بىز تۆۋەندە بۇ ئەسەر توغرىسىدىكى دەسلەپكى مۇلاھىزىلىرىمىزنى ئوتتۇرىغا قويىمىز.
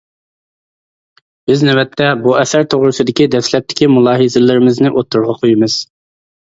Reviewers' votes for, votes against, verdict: 0, 2, rejected